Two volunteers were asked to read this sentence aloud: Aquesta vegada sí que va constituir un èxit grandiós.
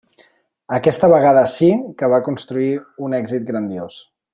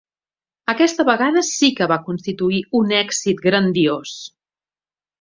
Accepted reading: second